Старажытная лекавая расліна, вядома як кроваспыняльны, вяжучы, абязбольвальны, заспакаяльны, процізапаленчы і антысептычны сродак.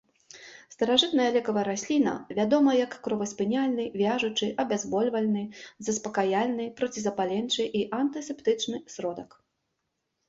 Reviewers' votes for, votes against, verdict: 2, 0, accepted